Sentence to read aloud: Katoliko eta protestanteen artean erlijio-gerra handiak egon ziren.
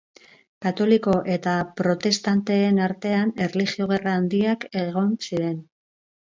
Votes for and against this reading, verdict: 2, 0, accepted